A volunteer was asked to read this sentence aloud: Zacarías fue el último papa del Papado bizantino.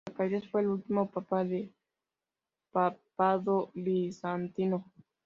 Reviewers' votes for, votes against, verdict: 0, 2, rejected